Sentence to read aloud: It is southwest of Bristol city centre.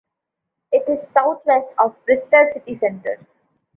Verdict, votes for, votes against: accepted, 2, 0